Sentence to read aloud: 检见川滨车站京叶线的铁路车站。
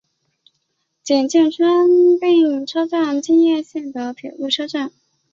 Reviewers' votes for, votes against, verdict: 1, 2, rejected